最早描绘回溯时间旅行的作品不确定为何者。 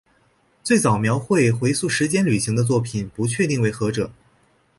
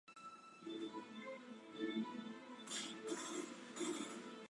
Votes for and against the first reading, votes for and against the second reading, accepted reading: 4, 0, 0, 2, first